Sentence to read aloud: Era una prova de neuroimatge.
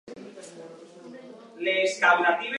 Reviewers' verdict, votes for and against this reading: rejected, 0, 2